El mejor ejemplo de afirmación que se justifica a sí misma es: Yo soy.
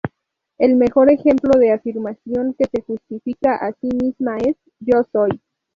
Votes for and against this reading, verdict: 2, 0, accepted